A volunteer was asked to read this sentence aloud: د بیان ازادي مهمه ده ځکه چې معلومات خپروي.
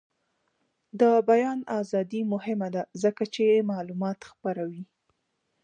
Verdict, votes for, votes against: rejected, 0, 2